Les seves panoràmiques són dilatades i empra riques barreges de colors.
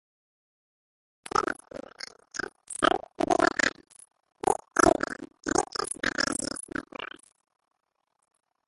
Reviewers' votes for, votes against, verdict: 1, 4, rejected